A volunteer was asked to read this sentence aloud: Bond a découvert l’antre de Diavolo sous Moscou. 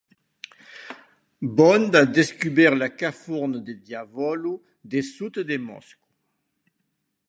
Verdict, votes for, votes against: rejected, 1, 2